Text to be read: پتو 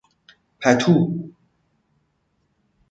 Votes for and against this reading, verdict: 2, 0, accepted